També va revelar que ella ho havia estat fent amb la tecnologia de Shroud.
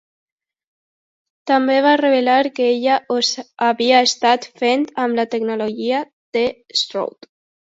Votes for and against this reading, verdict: 1, 2, rejected